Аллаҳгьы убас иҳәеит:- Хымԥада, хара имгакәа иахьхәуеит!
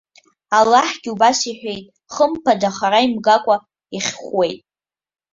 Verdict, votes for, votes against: accepted, 2, 1